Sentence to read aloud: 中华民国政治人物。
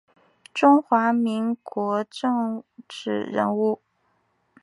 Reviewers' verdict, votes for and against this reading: accepted, 2, 1